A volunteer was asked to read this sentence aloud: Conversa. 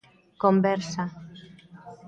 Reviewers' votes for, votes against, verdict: 2, 1, accepted